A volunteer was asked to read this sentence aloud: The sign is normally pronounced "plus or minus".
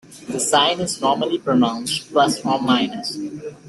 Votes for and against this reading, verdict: 2, 0, accepted